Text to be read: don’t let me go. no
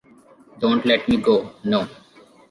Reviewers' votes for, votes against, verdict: 2, 0, accepted